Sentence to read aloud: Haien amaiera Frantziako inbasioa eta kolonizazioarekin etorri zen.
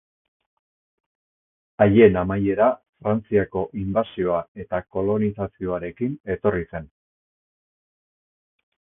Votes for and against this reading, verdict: 2, 0, accepted